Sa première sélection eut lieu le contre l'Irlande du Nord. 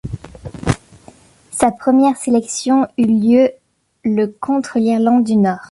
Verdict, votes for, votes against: accepted, 2, 0